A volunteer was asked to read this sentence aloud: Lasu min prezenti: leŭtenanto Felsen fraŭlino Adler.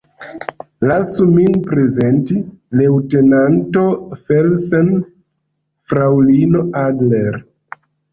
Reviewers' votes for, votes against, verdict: 1, 2, rejected